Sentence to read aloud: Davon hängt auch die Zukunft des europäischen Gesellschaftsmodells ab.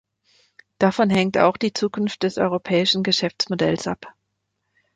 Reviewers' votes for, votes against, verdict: 1, 2, rejected